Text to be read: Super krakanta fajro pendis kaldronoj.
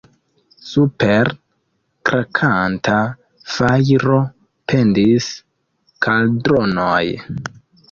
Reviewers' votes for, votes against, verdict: 1, 2, rejected